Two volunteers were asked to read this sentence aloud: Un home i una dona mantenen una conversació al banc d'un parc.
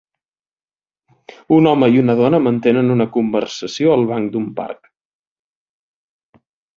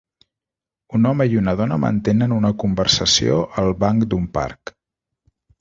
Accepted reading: second